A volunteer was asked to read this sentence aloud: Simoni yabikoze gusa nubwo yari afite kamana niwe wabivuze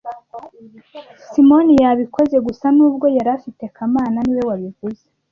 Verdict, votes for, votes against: accepted, 2, 0